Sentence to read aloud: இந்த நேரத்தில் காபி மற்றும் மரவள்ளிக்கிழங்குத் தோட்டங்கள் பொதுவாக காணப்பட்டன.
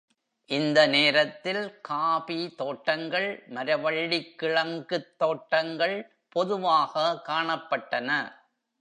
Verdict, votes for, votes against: rejected, 1, 2